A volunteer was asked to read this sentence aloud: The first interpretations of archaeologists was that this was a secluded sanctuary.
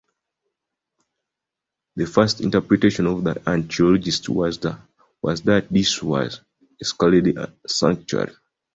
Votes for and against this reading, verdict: 0, 2, rejected